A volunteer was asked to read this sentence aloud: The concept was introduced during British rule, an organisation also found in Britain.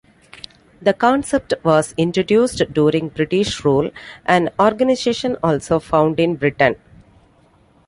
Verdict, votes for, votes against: accepted, 2, 0